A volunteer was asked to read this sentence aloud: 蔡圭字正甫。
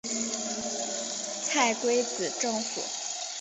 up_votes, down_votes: 5, 1